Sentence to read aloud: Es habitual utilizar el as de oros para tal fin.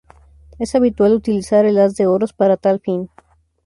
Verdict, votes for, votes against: accepted, 2, 0